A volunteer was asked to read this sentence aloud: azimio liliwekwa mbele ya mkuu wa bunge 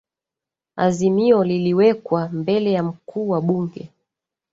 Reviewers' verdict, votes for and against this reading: accepted, 2, 1